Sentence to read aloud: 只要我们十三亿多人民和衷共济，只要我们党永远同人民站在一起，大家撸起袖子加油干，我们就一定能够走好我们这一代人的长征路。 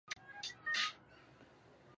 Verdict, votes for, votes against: rejected, 0, 5